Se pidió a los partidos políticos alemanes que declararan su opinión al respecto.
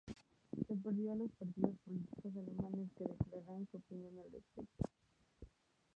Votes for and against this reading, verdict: 2, 0, accepted